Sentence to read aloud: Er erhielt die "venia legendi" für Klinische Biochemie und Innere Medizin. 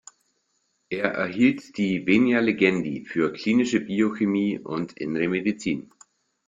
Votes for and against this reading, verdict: 2, 0, accepted